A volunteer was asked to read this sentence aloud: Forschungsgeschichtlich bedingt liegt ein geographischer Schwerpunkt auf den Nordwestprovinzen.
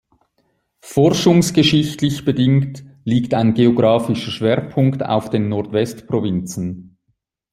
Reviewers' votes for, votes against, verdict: 2, 0, accepted